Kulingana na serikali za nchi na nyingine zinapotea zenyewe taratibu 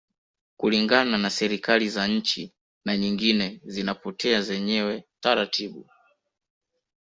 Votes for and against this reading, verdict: 2, 0, accepted